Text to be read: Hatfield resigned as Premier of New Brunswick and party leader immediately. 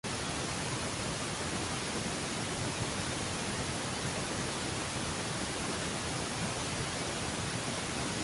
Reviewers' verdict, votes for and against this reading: rejected, 0, 2